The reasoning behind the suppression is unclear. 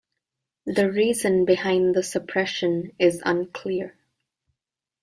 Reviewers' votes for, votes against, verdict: 1, 2, rejected